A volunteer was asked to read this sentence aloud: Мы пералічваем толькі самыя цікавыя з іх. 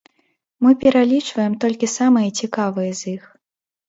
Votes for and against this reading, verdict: 2, 0, accepted